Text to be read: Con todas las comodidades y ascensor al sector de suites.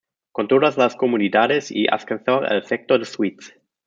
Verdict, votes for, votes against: rejected, 1, 2